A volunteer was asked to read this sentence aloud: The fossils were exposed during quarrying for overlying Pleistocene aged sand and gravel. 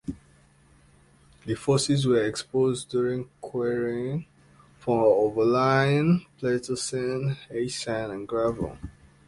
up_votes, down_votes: 1, 2